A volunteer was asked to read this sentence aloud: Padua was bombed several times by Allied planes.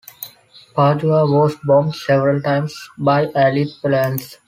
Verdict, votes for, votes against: accepted, 2, 1